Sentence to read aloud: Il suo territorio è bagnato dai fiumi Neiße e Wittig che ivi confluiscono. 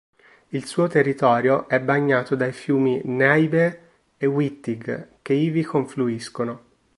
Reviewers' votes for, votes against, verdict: 0, 2, rejected